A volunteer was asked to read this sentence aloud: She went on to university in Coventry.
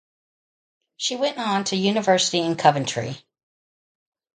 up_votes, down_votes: 0, 2